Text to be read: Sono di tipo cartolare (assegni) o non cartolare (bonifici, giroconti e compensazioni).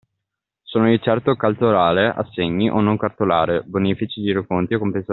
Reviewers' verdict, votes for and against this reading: rejected, 0, 2